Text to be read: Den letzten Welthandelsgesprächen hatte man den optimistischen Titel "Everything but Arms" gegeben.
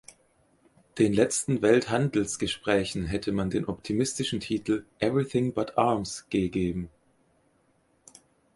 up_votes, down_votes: 0, 4